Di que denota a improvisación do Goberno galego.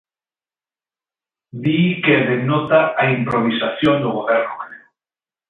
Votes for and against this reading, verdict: 2, 0, accepted